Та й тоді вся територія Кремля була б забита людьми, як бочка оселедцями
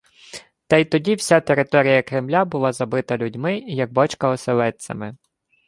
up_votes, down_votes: 0, 2